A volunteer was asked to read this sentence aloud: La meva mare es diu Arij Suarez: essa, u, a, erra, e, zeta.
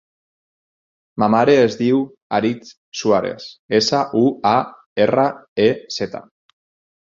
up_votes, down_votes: 0, 4